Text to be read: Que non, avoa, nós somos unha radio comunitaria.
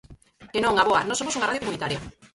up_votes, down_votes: 0, 4